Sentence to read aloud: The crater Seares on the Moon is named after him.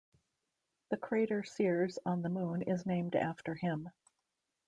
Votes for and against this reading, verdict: 2, 0, accepted